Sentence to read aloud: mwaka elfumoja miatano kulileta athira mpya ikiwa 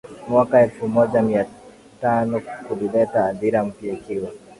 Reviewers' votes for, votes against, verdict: 0, 2, rejected